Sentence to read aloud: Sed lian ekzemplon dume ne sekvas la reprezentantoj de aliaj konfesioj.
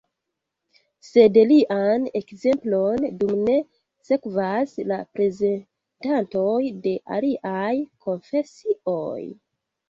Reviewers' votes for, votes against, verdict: 0, 2, rejected